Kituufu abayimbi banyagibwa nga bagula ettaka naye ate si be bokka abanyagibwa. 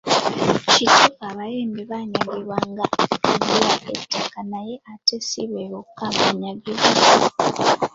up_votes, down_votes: 0, 2